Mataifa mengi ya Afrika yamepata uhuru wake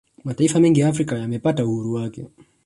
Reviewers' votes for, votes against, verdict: 1, 2, rejected